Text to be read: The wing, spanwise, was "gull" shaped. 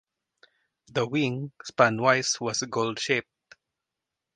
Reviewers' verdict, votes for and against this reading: accepted, 2, 0